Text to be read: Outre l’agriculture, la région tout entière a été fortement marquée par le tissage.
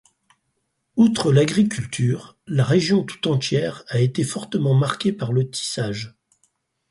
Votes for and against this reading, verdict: 4, 0, accepted